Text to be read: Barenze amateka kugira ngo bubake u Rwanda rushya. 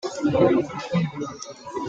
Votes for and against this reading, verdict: 0, 3, rejected